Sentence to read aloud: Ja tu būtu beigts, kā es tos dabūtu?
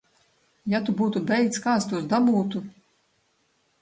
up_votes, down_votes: 2, 1